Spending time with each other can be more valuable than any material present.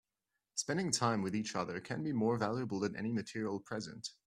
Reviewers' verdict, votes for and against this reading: accepted, 2, 0